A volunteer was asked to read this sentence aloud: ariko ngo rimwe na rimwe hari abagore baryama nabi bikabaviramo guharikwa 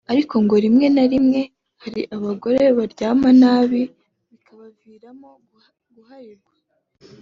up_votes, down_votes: 3, 0